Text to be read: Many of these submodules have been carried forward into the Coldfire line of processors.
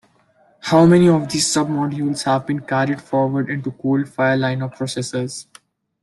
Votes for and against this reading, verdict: 0, 2, rejected